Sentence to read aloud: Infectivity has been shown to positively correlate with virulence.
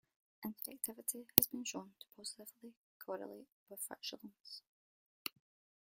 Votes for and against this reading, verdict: 0, 2, rejected